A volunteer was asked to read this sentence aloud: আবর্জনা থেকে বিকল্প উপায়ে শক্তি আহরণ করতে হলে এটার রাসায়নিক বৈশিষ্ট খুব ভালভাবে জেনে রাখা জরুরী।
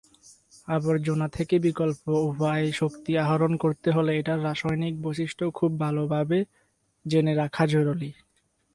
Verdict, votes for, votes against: accepted, 4, 0